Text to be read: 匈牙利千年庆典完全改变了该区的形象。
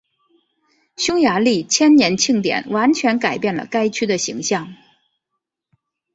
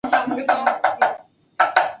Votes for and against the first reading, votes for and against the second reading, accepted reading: 6, 1, 1, 2, first